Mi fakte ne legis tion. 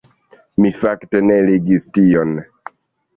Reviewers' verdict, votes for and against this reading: accepted, 2, 1